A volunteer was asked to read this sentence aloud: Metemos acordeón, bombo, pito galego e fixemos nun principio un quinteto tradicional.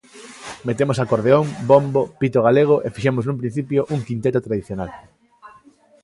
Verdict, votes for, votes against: accepted, 2, 0